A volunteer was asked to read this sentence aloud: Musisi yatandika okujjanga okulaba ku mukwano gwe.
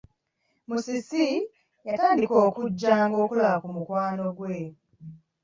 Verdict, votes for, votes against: rejected, 1, 2